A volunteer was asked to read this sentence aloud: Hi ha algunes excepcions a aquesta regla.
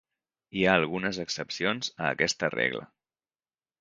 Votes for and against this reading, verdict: 3, 0, accepted